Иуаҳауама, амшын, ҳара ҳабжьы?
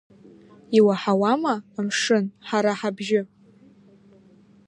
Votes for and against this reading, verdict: 2, 0, accepted